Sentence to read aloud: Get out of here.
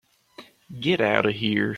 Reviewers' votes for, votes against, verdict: 2, 0, accepted